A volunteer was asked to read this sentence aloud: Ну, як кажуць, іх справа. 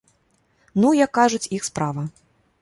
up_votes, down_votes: 0, 2